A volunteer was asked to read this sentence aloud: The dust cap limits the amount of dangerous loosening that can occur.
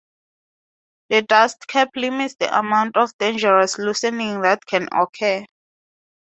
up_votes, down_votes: 4, 0